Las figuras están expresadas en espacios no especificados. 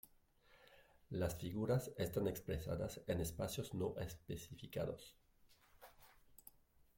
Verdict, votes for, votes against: rejected, 1, 2